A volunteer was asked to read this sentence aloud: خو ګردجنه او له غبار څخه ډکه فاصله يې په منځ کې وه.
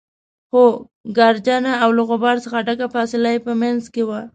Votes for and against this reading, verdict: 2, 0, accepted